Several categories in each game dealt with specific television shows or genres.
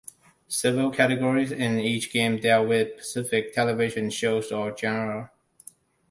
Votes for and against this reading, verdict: 0, 2, rejected